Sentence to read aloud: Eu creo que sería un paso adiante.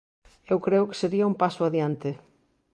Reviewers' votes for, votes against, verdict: 2, 0, accepted